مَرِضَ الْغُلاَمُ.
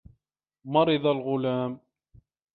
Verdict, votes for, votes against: accepted, 2, 0